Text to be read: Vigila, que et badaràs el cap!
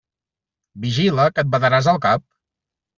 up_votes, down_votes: 2, 0